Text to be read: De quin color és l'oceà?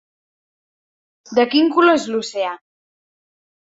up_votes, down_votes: 3, 0